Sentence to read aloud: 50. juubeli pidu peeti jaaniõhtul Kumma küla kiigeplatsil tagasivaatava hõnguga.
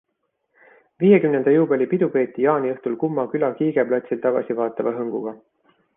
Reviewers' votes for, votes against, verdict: 0, 2, rejected